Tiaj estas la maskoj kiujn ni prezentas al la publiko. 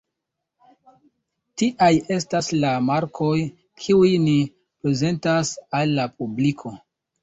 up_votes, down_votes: 0, 2